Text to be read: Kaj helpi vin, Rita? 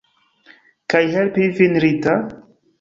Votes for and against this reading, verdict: 2, 1, accepted